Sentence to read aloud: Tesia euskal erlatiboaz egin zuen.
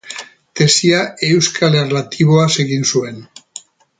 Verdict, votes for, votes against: accepted, 2, 0